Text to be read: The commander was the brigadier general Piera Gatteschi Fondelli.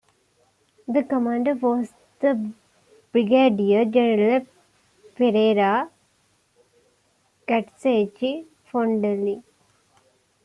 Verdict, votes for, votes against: rejected, 0, 2